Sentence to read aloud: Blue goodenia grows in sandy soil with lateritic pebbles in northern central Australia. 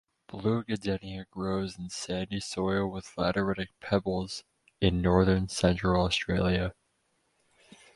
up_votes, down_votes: 2, 0